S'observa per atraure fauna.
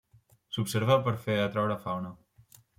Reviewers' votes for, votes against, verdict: 1, 2, rejected